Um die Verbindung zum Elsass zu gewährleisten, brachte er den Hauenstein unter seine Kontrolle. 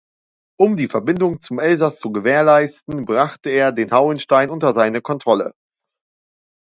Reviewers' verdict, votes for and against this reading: accepted, 2, 0